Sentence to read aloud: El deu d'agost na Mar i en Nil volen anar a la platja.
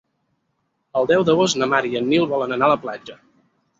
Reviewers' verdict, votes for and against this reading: accepted, 4, 0